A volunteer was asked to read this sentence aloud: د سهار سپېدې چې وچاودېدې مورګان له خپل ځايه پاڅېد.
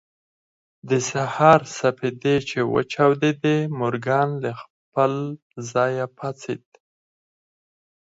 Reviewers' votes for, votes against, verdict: 0, 4, rejected